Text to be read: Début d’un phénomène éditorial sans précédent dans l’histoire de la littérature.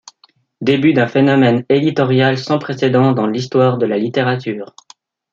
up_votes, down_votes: 2, 0